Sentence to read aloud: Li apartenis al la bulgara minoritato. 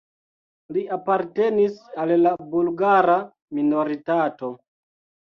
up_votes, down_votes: 2, 0